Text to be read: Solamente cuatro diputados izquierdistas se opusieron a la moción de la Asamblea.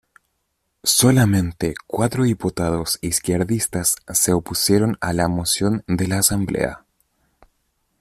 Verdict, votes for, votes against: accepted, 2, 0